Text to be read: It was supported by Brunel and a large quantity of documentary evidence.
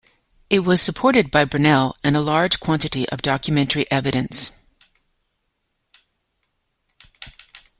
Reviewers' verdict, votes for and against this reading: accepted, 2, 0